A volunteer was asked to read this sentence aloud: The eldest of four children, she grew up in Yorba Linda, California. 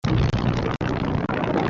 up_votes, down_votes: 0, 2